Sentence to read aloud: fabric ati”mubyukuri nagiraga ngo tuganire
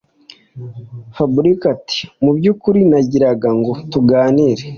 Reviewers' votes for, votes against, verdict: 2, 1, accepted